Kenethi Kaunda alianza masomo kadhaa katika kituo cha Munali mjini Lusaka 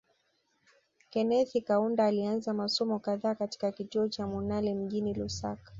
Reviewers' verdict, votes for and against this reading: accepted, 2, 0